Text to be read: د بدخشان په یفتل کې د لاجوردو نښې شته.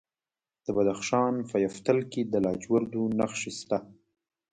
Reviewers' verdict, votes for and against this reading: rejected, 0, 2